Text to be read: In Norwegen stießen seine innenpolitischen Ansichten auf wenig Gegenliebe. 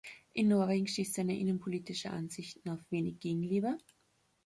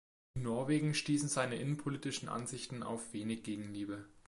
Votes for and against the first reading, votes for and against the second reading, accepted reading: 1, 2, 2, 0, second